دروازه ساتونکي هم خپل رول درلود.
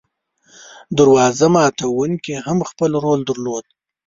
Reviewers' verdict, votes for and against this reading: rejected, 1, 2